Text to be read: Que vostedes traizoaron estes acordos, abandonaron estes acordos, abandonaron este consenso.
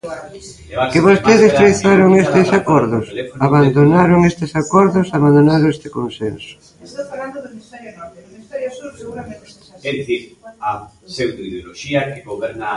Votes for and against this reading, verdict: 0, 2, rejected